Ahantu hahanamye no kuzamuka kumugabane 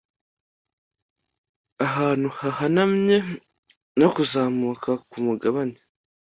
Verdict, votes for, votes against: accepted, 2, 0